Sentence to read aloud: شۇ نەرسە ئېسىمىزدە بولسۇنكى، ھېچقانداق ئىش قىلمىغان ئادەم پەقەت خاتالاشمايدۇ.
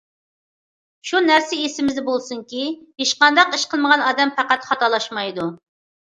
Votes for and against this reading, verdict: 2, 0, accepted